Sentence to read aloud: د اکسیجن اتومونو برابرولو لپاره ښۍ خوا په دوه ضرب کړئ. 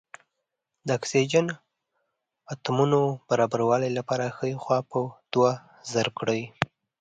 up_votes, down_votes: 3, 0